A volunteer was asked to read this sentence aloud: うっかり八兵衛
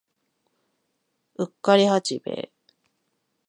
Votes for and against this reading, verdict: 2, 0, accepted